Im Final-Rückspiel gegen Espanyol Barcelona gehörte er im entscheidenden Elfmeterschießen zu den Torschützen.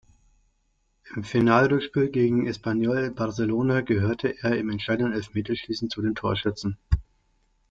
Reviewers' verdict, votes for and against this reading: rejected, 0, 2